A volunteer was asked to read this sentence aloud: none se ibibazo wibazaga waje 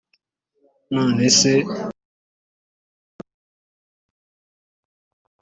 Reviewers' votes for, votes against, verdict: 1, 3, rejected